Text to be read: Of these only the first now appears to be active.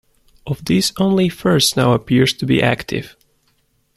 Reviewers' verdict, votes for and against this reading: rejected, 0, 2